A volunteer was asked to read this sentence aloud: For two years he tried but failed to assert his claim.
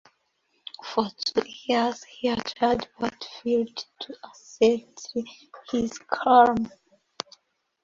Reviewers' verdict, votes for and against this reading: rejected, 0, 2